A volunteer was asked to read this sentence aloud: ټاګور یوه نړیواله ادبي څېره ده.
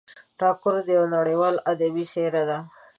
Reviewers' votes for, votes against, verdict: 1, 2, rejected